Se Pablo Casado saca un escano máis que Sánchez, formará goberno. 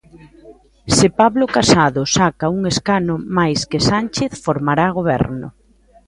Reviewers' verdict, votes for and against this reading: accepted, 2, 1